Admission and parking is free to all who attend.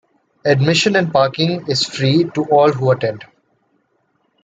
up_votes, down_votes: 2, 0